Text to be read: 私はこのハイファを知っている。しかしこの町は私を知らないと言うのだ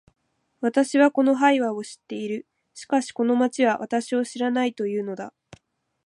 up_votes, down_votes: 2, 1